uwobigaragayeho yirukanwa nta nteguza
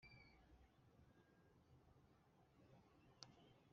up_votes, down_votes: 0, 2